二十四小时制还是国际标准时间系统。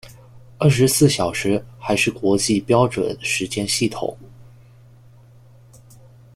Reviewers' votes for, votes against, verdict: 1, 2, rejected